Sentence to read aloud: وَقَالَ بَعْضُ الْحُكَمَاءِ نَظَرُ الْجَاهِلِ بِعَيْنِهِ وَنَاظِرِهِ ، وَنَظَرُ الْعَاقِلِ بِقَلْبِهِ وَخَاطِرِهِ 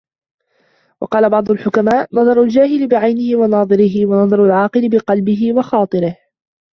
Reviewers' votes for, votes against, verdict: 1, 2, rejected